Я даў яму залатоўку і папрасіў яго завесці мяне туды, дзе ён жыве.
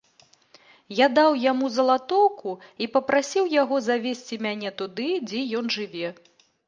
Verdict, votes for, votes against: accepted, 2, 0